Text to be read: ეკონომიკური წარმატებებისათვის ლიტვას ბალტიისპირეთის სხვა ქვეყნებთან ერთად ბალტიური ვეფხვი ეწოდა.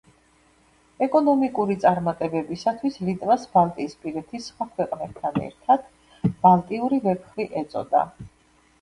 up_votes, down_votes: 0, 2